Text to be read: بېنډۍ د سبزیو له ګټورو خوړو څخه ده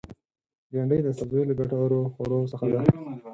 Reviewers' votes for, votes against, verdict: 6, 2, accepted